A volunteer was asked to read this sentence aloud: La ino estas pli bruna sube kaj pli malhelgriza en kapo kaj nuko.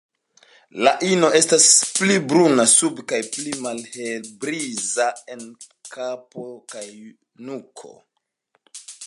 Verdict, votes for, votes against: rejected, 1, 2